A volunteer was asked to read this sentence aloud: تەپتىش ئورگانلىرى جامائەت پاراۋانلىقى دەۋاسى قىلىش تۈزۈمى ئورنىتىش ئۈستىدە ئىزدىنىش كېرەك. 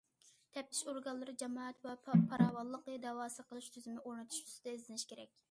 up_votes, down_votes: 0, 2